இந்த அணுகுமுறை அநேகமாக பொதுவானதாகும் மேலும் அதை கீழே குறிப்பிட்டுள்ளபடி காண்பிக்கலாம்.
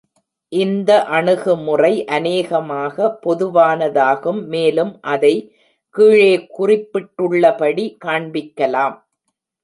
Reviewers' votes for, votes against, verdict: 2, 0, accepted